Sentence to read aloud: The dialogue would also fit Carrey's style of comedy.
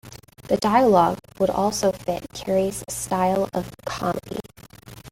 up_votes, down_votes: 1, 2